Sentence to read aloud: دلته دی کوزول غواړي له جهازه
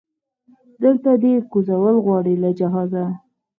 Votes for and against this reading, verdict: 2, 4, rejected